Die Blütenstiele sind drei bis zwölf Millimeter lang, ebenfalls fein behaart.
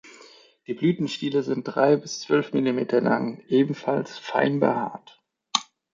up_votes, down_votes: 2, 0